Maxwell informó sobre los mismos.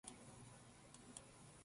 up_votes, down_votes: 0, 2